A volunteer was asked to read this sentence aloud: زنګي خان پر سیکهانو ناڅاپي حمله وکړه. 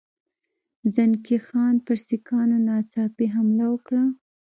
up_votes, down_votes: 1, 2